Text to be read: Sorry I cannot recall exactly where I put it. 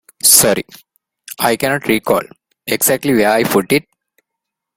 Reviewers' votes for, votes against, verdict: 2, 0, accepted